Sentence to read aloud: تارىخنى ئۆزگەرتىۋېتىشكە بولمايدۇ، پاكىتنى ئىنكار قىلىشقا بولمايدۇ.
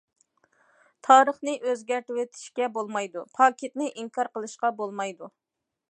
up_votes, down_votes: 2, 0